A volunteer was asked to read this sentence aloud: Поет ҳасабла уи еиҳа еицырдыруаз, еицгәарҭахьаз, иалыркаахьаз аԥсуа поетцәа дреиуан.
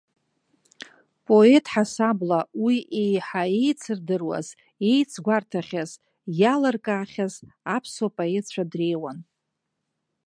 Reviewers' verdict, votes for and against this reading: accepted, 2, 0